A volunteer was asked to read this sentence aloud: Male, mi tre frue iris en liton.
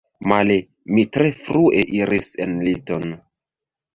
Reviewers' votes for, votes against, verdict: 1, 3, rejected